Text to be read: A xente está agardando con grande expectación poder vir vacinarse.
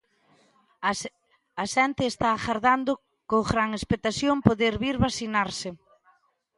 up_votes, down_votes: 0, 2